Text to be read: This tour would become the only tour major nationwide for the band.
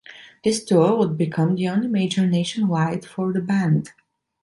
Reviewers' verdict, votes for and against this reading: rejected, 0, 2